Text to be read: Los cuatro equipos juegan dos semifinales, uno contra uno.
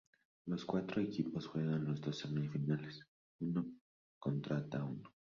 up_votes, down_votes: 0, 2